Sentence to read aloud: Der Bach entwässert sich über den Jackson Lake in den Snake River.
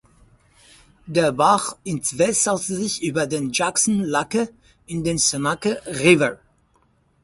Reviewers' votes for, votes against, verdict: 0, 4, rejected